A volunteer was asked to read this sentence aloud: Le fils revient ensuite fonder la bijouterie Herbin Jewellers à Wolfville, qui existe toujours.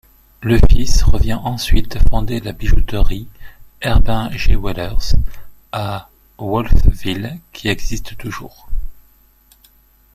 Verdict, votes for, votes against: rejected, 1, 2